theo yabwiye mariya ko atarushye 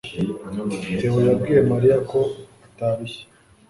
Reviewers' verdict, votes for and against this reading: accepted, 2, 0